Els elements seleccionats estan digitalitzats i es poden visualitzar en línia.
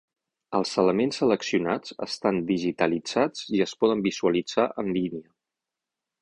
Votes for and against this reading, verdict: 6, 0, accepted